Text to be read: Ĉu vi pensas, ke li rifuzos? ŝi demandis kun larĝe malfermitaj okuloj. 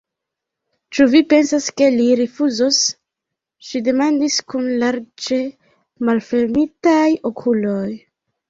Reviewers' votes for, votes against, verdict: 0, 2, rejected